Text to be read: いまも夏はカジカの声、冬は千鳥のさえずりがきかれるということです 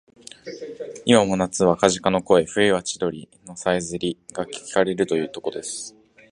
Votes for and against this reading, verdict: 3, 5, rejected